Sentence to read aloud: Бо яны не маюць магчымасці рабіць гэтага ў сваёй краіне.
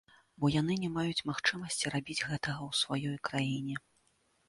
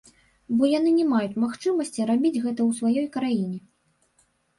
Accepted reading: first